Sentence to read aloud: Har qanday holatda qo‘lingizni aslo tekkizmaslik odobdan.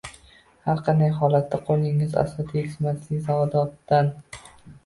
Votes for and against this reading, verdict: 1, 2, rejected